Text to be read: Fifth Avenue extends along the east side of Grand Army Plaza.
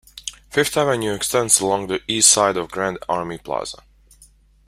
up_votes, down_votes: 2, 0